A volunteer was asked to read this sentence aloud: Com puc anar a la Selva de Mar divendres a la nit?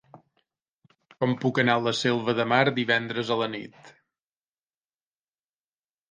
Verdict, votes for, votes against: accepted, 3, 0